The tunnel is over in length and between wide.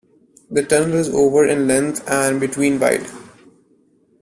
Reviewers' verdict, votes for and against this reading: rejected, 0, 2